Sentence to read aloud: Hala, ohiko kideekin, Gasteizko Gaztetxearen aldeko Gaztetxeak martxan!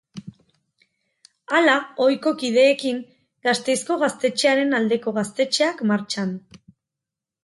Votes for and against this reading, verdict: 4, 0, accepted